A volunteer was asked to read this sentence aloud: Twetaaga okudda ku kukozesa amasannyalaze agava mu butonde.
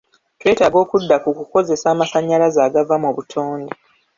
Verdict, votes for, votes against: accepted, 2, 0